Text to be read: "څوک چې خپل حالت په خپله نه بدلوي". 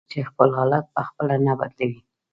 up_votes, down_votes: 1, 2